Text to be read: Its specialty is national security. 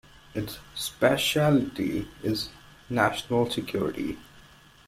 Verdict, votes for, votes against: rejected, 1, 2